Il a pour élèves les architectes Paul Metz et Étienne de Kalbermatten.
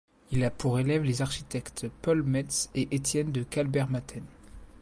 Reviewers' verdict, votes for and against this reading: accepted, 2, 0